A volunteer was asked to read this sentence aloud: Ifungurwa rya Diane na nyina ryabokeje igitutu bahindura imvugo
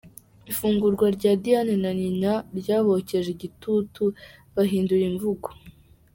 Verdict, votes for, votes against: accepted, 2, 0